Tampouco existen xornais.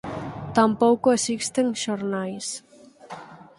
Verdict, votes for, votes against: rejected, 2, 4